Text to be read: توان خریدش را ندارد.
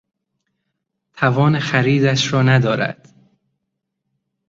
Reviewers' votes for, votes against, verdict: 2, 0, accepted